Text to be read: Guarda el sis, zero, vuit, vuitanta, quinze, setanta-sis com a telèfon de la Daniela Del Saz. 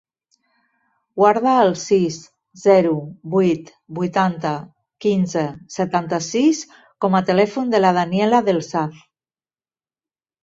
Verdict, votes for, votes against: accepted, 2, 0